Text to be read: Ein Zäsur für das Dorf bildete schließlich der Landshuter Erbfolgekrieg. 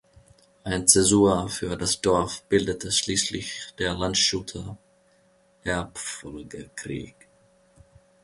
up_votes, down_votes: 0, 2